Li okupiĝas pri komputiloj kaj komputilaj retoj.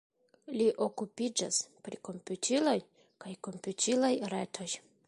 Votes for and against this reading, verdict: 0, 2, rejected